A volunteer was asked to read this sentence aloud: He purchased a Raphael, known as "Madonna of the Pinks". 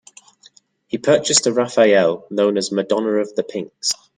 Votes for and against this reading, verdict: 2, 0, accepted